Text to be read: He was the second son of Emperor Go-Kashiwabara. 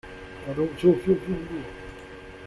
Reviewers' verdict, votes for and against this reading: rejected, 0, 2